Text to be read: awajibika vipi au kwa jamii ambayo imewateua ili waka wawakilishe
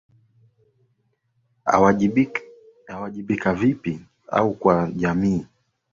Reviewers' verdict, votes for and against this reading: rejected, 0, 2